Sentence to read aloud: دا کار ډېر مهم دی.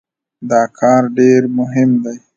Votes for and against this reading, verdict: 2, 0, accepted